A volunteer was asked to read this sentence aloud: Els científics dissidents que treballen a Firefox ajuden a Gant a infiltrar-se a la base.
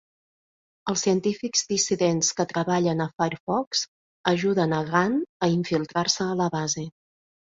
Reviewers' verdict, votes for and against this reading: accepted, 3, 1